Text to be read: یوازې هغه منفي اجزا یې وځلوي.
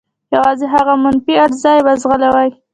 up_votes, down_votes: 2, 1